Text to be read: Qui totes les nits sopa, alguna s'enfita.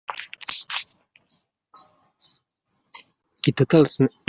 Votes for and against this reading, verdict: 0, 2, rejected